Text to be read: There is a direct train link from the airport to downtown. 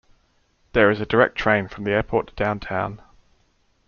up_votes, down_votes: 0, 2